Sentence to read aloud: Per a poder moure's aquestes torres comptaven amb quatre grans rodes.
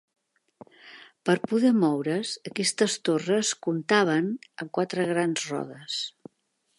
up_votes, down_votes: 1, 2